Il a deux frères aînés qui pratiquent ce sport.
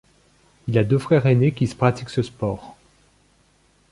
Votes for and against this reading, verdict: 1, 2, rejected